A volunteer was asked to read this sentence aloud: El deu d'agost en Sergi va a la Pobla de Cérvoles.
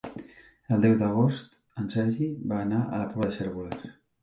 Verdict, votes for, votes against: rejected, 0, 2